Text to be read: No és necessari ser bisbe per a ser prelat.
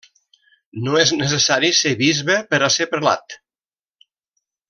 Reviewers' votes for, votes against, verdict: 2, 0, accepted